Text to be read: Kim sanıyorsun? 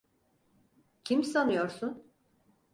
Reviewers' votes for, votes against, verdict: 4, 0, accepted